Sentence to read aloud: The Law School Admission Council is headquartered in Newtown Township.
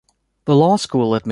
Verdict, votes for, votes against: rejected, 0, 2